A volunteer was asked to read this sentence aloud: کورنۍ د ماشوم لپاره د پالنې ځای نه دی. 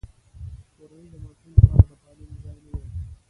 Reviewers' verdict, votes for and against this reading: accepted, 3, 2